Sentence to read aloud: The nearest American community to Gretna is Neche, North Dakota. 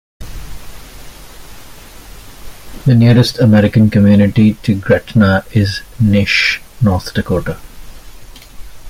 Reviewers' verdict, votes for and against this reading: rejected, 0, 2